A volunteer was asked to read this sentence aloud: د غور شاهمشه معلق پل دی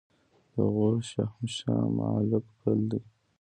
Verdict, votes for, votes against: rejected, 1, 2